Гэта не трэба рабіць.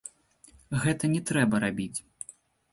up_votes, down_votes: 0, 2